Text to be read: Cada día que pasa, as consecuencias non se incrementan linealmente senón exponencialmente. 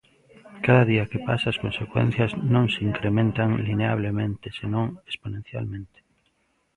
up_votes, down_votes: 0, 2